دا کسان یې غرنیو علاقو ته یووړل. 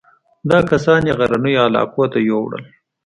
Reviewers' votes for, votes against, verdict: 2, 0, accepted